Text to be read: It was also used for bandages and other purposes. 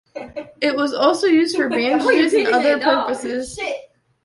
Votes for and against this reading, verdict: 1, 2, rejected